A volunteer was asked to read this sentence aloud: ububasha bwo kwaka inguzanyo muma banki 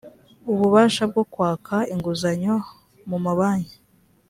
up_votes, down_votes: 2, 0